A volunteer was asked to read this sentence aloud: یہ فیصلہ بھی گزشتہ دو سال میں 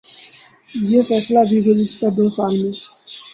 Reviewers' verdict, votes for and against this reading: rejected, 0, 2